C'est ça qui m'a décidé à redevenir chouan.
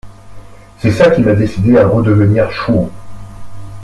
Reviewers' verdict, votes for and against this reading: accepted, 3, 0